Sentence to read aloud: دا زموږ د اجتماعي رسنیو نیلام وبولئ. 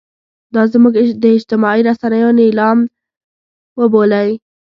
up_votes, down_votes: 1, 2